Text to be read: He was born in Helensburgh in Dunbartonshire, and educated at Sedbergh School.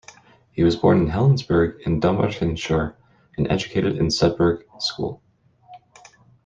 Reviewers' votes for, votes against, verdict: 1, 2, rejected